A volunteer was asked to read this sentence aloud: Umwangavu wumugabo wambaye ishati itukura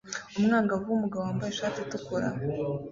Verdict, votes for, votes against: accepted, 2, 0